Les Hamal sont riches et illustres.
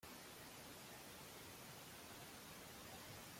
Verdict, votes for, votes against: rejected, 0, 2